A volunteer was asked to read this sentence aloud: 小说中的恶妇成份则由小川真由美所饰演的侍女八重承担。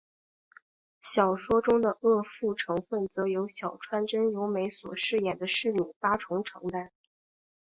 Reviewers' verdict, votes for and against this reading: accepted, 5, 2